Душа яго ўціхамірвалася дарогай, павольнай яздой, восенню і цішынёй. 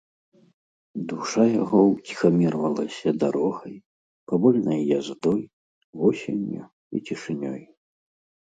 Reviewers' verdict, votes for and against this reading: accepted, 2, 0